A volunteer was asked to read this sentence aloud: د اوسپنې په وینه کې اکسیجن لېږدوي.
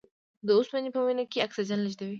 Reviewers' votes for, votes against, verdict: 1, 2, rejected